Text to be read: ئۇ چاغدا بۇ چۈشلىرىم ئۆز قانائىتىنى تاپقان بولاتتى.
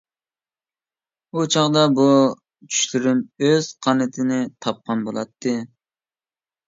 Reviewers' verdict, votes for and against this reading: rejected, 0, 2